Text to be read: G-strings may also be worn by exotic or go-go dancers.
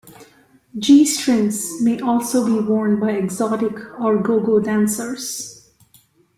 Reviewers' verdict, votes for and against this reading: accepted, 2, 0